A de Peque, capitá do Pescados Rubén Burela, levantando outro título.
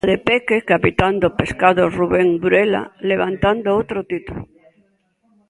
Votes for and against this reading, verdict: 0, 4, rejected